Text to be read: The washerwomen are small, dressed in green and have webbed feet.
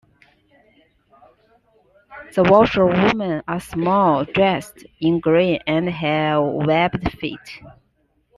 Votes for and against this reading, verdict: 2, 0, accepted